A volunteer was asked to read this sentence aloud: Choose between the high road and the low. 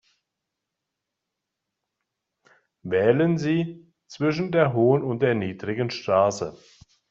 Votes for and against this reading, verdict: 0, 2, rejected